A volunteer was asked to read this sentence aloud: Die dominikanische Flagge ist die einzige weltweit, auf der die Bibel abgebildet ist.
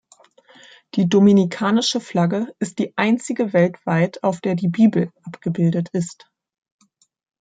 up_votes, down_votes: 3, 0